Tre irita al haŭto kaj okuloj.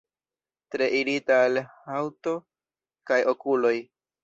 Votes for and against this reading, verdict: 2, 0, accepted